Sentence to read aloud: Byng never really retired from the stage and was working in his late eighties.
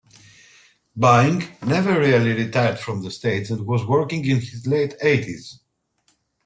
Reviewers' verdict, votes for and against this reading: accepted, 2, 1